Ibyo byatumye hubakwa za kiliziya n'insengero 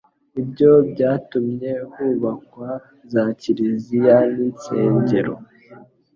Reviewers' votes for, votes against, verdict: 2, 0, accepted